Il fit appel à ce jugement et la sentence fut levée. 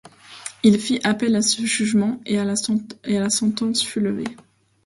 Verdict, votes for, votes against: rejected, 0, 2